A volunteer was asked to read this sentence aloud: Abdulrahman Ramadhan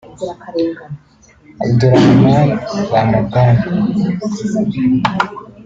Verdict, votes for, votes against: rejected, 1, 2